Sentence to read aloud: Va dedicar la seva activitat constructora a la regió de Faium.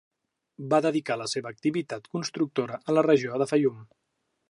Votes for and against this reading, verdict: 3, 0, accepted